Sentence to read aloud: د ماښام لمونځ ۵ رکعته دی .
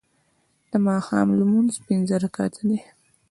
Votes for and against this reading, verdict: 0, 2, rejected